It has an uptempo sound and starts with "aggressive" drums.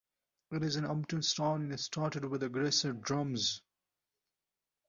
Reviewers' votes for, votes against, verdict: 0, 2, rejected